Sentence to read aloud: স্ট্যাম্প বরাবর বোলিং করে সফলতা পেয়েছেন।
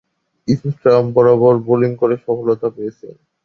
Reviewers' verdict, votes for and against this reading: accepted, 4, 0